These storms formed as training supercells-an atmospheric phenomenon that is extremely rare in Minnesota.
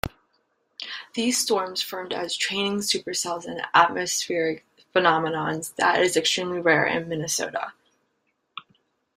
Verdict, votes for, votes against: accepted, 2, 1